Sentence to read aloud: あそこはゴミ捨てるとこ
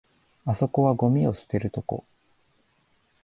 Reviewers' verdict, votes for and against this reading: rejected, 1, 2